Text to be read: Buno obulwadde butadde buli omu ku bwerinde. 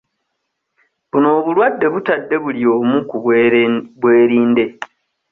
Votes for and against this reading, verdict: 1, 2, rejected